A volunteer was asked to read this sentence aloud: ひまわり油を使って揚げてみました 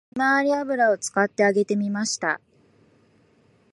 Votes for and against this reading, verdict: 1, 2, rejected